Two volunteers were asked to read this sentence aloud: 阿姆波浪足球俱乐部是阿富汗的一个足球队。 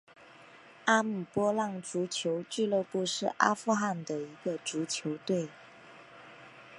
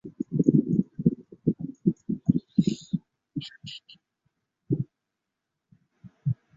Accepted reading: first